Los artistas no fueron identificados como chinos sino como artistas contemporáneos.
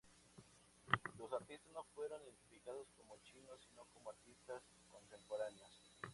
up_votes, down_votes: 2, 0